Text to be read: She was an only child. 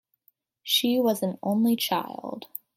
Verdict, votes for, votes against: accepted, 2, 0